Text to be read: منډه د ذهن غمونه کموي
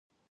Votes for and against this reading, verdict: 0, 2, rejected